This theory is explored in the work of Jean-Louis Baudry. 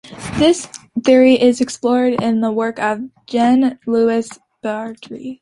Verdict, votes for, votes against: accepted, 2, 0